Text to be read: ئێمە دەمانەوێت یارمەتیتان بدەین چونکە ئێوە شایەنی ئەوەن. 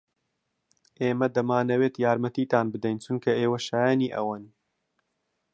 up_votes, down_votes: 2, 0